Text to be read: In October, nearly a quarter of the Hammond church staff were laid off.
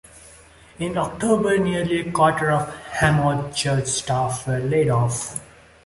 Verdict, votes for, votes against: accepted, 2, 0